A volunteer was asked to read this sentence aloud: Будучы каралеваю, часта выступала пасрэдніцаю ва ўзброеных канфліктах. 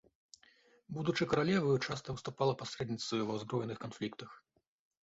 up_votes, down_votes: 2, 1